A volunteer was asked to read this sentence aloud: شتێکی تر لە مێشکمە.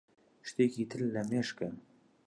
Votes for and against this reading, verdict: 0, 2, rejected